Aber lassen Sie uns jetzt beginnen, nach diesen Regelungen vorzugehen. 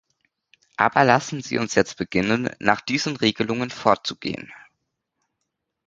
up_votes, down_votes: 2, 0